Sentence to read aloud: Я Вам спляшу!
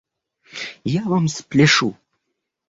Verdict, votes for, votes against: rejected, 0, 2